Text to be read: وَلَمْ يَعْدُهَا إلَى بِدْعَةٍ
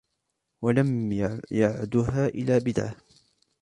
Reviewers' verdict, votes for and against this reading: rejected, 0, 2